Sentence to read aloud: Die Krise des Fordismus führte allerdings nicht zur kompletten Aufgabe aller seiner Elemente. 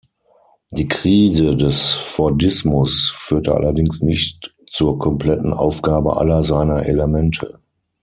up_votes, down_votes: 6, 0